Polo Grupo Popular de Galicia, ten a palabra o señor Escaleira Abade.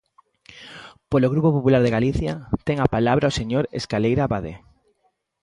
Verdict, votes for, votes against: accepted, 2, 0